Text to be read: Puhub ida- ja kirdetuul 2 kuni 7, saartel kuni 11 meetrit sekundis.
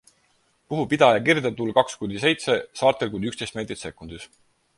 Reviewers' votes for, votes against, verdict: 0, 2, rejected